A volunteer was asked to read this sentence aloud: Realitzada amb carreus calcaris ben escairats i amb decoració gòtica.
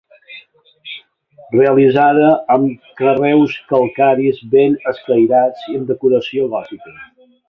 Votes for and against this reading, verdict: 3, 1, accepted